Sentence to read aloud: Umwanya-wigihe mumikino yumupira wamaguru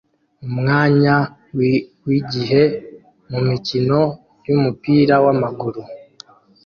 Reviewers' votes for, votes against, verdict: 1, 2, rejected